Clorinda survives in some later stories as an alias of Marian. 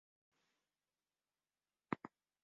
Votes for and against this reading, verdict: 0, 3, rejected